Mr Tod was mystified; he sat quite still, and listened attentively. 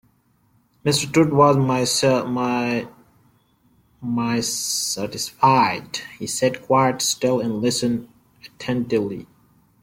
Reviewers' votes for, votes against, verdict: 0, 2, rejected